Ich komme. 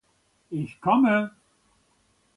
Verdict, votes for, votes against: accepted, 2, 0